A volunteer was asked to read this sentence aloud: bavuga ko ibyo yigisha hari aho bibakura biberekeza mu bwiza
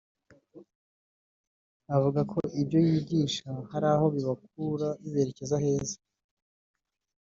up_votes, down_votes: 0, 3